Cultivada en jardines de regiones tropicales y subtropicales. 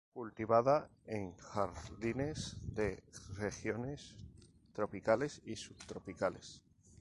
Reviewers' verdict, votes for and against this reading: accepted, 2, 0